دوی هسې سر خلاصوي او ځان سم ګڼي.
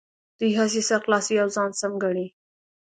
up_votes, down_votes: 3, 0